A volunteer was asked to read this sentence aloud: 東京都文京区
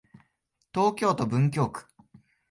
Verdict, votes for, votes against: accepted, 2, 0